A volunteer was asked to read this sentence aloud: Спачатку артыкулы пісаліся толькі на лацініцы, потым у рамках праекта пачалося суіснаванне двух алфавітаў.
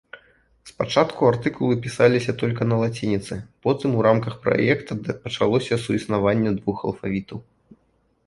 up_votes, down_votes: 0, 2